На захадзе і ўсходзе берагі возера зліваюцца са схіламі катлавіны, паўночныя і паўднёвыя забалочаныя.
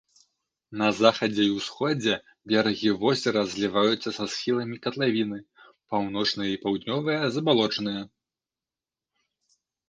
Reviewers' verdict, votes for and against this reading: accepted, 2, 0